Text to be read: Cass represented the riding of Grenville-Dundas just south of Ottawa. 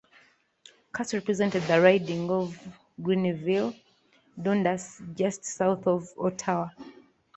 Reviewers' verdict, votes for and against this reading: accepted, 2, 1